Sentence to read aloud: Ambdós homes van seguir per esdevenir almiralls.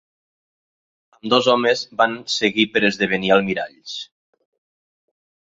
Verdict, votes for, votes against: rejected, 0, 2